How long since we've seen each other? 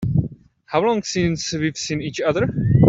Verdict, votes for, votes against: rejected, 0, 2